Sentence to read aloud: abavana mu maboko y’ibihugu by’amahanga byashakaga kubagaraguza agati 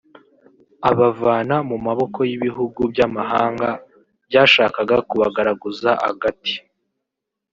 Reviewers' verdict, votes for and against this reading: accepted, 2, 1